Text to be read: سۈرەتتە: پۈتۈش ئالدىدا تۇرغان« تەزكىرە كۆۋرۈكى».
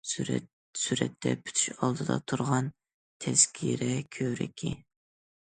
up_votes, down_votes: 1, 2